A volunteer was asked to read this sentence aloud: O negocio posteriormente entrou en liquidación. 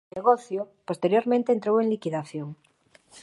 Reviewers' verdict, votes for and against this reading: rejected, 1, 2